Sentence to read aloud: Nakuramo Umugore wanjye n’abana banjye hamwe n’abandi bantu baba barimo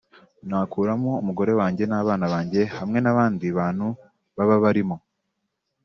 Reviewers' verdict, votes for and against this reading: accepted, 2, 1